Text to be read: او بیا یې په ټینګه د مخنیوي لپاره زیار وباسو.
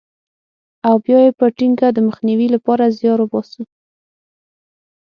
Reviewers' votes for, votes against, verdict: 6, 0, accepted